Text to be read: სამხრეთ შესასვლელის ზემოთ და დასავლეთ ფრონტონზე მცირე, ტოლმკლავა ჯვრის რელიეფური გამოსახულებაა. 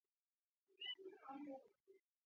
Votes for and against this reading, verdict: 0, 2, rejected